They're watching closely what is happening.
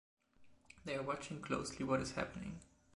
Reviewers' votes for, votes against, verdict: 2, 0, accepted